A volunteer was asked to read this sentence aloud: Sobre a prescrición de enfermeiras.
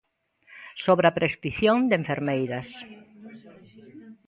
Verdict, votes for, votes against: accepted, 2, 0